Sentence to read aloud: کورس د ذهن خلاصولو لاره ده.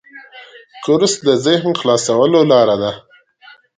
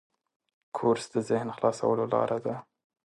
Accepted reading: second